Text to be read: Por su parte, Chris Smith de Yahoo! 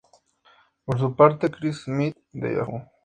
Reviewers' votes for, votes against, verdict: 0, 2, rejected